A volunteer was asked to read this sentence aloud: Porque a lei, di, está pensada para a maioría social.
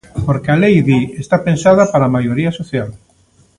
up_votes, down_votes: 1, 2